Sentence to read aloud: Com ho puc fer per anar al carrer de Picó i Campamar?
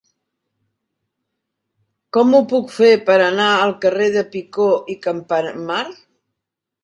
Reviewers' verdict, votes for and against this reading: rejected, 1, 2